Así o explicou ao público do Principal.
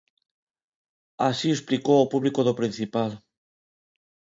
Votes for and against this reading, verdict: 2, 0, accepted